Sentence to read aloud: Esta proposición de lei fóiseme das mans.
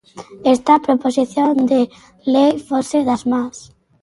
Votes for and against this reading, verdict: 0, 4, rejected